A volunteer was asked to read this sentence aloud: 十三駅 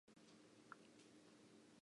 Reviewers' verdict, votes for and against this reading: rejected, 0, 2